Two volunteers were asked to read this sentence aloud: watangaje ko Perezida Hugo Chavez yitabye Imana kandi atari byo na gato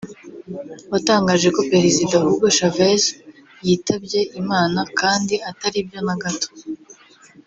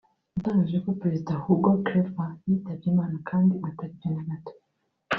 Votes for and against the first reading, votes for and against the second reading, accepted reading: 2, 0, 1, 2, first